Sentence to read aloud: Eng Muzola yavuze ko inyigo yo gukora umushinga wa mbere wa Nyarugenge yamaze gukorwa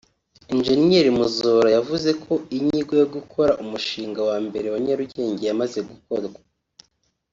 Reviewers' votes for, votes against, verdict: 4, 0, accepted